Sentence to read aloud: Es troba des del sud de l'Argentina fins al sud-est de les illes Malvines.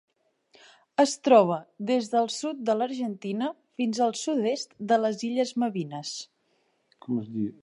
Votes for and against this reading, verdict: 2, 1, accepted